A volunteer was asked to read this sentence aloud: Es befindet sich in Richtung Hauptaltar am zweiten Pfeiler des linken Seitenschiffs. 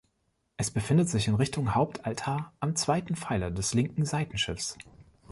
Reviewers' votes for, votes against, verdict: 2, 0, accepted